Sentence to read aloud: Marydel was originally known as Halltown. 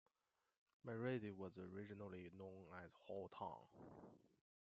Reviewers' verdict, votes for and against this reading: rejected, 0, 2